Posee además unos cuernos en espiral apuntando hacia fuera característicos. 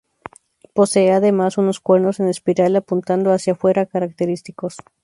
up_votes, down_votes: 2, 0